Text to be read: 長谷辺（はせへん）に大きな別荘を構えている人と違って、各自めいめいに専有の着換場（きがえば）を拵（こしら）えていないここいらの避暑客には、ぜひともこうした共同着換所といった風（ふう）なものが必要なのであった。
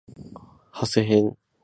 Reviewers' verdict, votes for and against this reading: rejected, 0, 6